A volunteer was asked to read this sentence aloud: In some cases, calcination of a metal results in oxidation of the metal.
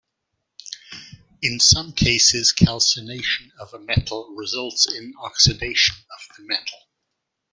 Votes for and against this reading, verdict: 2, 1, accepted